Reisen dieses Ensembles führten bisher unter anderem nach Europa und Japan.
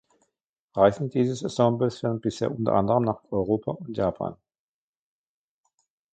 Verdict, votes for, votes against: rejected, 0, 2